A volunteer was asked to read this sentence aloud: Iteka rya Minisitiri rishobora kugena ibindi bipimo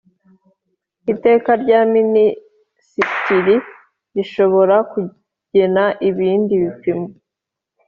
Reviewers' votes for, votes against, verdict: 3, 0, accepted